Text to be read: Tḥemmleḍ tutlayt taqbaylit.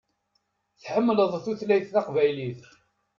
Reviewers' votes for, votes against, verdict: 2, 0, accepted